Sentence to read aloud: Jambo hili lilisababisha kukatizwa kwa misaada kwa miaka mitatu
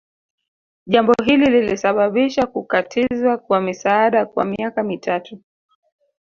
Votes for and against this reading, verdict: 2, 3, rejected